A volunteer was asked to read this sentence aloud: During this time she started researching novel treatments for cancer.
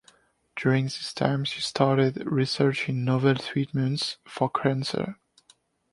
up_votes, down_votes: 2, 1